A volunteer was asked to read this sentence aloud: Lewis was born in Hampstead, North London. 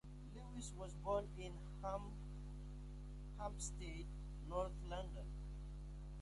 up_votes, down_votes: 0, 2